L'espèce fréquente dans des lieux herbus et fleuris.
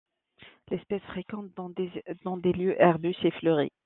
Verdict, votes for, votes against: rejected, 0, 3